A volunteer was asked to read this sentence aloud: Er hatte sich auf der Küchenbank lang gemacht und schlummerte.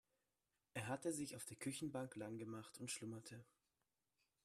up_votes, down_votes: 2, 0